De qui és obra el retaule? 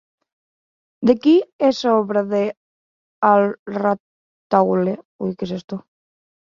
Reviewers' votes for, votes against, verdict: 0, 2, rejected